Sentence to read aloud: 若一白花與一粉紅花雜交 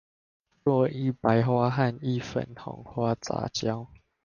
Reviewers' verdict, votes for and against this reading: rejected, 0, 2